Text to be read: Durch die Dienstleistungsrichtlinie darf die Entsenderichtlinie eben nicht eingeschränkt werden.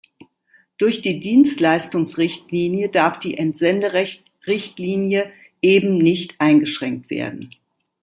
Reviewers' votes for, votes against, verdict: 1, 2, rejected